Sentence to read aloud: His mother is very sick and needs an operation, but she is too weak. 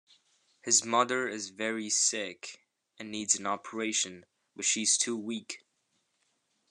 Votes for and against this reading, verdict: 1, 2, rejected